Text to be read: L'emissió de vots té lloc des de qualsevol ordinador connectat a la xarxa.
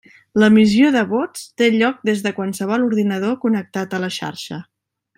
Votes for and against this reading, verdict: 1, 2, rejected